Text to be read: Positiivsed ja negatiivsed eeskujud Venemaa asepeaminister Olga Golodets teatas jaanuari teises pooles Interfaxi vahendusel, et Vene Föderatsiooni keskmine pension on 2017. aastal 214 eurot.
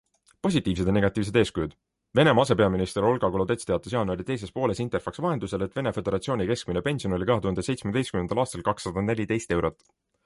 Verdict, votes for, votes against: rejected, 0, 2